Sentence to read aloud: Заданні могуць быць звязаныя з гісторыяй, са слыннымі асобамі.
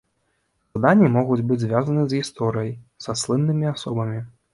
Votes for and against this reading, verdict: 0, 3, rejected